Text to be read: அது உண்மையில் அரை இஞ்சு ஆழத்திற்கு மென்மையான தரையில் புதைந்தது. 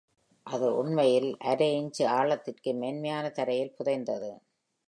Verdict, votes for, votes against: accepted, 2, 1